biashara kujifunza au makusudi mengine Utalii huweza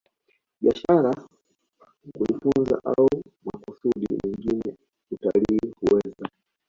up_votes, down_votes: 2, 1